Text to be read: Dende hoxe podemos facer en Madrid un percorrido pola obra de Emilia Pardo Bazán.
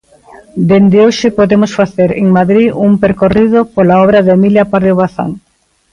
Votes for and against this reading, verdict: 2, 1, accepted